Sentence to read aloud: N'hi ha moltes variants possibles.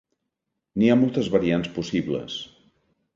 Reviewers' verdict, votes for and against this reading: accepted, 2, 0